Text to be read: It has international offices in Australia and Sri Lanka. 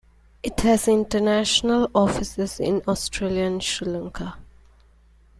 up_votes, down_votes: 2, 0